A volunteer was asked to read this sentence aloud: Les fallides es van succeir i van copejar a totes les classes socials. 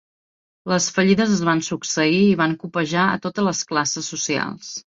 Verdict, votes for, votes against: accepted, 3, 0